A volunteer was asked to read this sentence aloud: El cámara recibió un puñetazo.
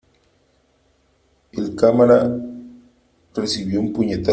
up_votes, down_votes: 0, 3